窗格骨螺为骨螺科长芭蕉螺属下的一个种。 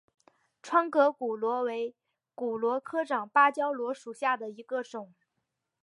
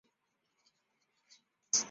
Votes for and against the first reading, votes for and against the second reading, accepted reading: 7, 1, 0, 2, first